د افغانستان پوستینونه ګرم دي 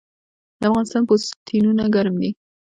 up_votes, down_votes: 0, 2